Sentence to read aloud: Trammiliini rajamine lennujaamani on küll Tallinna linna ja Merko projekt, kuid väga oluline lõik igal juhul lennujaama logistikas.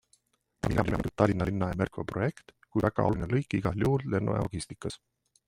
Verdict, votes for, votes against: rejected, 0, 2